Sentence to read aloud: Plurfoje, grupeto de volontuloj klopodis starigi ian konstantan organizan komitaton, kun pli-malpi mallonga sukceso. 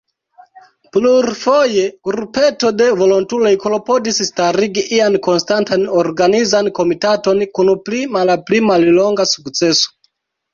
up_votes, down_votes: 1, 2